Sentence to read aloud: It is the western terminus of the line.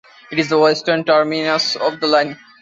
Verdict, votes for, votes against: accepted, 2, 0